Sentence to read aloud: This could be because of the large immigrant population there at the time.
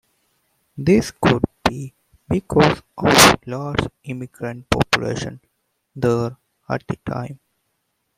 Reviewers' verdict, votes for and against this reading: rejected, 1, 2